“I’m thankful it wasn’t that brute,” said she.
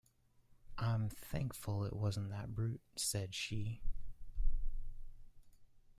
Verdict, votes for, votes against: accepted, 2, 1